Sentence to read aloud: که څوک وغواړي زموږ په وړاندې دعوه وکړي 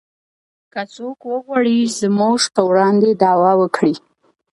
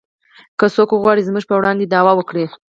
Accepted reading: first